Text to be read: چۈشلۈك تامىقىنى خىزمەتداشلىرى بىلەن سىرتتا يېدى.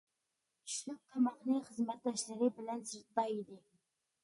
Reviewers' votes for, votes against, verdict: 2, 0, accepted